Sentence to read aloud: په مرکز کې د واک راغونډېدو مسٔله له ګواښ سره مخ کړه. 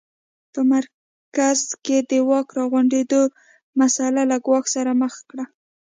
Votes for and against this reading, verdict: 2, 0, accepted